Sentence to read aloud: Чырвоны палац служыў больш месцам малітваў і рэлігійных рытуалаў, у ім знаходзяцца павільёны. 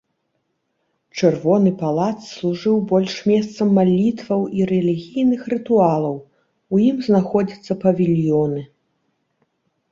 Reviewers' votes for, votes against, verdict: 2, 0, accepted